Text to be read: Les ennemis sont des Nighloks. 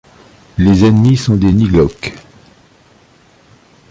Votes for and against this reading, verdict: 0, 2, rejected